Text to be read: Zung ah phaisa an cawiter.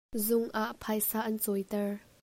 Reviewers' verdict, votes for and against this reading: accepted, 2, 0